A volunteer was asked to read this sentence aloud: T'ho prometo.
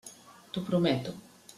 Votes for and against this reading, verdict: 3, 0, accepted